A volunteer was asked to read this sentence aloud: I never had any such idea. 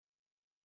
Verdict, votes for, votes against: rejected, 0, 2